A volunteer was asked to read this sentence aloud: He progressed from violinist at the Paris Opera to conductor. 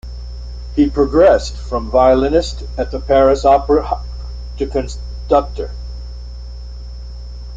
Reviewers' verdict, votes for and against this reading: rejected, 0, 2